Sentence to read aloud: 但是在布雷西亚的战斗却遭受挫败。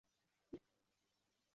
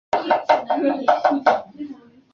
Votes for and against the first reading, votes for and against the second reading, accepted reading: 2, 0, 0, 3, first